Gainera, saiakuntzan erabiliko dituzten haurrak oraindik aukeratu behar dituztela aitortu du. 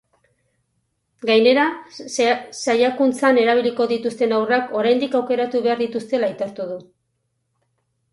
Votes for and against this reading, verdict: 0, 4, rejected